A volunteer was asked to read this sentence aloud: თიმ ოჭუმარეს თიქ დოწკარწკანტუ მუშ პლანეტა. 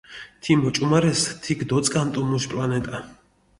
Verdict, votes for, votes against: rejected, 1, 2